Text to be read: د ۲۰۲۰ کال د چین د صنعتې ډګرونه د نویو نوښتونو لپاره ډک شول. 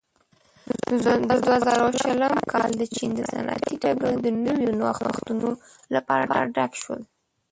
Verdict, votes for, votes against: rejected, 0, 2